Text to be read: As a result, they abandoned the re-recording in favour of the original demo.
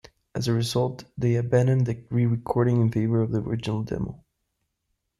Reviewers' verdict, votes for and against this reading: accepted, 2, 0